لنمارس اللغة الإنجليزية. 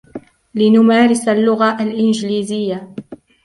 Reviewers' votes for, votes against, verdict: 2, 1, accepted